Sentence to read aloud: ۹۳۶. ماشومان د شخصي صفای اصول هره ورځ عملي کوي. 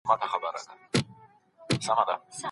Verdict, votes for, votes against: rejected, 0, 2